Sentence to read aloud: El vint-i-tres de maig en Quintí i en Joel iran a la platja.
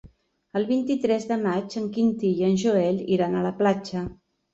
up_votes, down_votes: 3, 0